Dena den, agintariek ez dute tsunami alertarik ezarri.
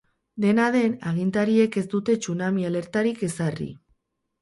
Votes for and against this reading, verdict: 2, 4, rejected